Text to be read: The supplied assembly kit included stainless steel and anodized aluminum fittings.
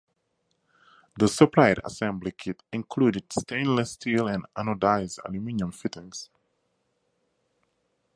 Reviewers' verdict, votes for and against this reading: accepted, 4, 0